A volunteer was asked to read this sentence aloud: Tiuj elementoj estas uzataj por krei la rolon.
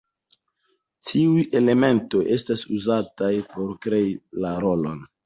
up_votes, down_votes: 2, 0